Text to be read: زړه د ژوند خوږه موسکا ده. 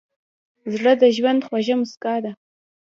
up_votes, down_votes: 1, 2